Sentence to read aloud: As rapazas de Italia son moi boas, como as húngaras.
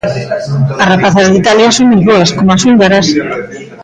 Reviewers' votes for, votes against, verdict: 0, 2, rejected